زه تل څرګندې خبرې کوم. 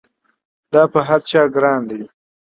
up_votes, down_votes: 0, 2